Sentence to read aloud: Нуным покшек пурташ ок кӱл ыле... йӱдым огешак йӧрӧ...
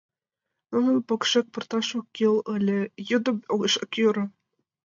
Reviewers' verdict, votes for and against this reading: accepted, 2, 0